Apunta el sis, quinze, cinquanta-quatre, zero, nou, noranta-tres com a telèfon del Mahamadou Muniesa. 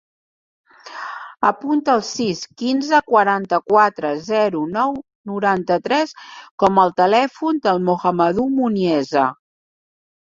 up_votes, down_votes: 0, 2